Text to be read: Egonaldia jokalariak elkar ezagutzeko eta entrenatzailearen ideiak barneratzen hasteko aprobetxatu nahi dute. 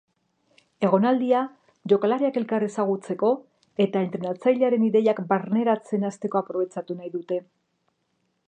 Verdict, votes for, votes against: rejected, 1, 2